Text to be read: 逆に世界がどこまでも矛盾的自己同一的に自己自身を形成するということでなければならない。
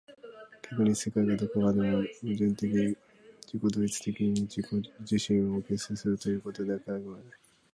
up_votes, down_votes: 0, 2